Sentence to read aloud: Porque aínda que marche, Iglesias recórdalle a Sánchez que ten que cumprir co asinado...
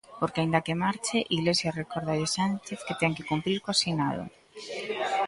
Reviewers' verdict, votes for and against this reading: rejected, 1, 2